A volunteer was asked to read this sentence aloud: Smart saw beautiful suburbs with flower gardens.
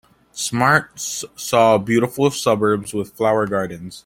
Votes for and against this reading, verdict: 2, 1, accepted